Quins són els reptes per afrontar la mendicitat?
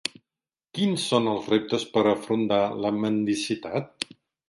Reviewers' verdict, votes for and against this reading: rejected, 1, 4